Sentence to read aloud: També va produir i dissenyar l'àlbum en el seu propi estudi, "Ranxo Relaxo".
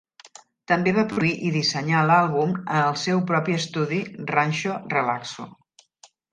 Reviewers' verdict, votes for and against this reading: rejected, 0, 2